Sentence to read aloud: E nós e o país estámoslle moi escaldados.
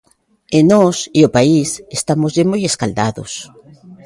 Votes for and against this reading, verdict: 2, 0, accepted